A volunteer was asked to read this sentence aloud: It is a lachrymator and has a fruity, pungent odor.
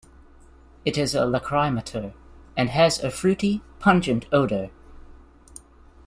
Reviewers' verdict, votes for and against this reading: accepted, 2, 0